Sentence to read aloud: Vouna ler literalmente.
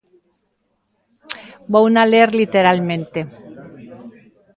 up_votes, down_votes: 2, 0